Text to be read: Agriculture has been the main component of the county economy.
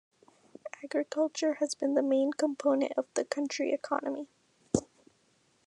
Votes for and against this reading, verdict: 0, 2, rejected